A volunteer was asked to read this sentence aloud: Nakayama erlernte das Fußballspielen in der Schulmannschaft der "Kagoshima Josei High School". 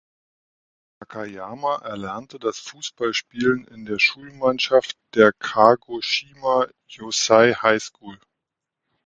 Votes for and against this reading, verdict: 0, 2, rejected